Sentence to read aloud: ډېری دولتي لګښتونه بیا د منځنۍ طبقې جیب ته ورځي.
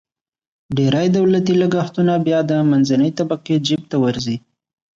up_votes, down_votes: 2, 0